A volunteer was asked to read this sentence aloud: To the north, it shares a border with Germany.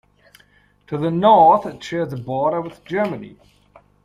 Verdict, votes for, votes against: accepted, 2, 0